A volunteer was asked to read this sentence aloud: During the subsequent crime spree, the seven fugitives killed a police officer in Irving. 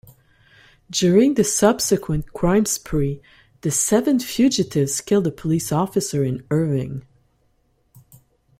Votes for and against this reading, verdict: 2, 0, accepted